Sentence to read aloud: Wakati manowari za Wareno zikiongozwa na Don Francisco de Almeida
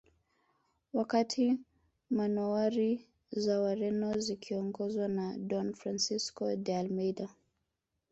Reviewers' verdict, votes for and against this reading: rejected, 0, 2